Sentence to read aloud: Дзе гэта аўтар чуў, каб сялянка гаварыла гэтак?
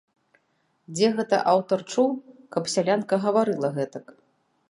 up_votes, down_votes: 2, 0